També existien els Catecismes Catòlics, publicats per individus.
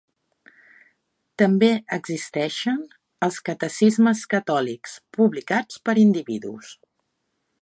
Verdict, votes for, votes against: rejected, 0, 3